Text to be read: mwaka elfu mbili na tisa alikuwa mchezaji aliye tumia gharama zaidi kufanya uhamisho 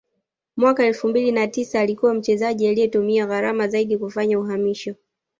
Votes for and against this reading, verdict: 2, 0, accepted